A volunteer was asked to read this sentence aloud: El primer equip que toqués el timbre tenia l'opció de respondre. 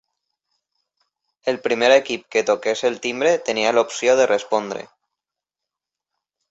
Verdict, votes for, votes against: accepted, 3, 0